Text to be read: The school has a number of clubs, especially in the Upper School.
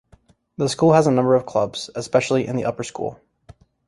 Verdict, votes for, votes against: rejected, 1, 2